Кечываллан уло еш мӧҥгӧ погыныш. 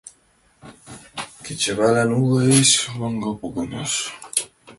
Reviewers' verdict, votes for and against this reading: rejected, 0, 2